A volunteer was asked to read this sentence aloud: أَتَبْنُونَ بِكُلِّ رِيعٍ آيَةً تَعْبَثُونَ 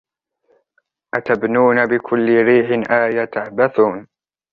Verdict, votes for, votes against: accepted, 4, 1